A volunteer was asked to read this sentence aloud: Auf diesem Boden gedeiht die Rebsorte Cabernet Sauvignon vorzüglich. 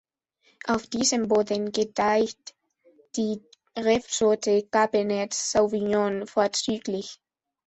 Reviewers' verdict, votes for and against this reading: rejected, 1, 2